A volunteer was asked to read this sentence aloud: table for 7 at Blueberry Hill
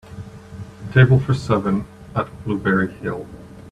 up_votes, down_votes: 0, 2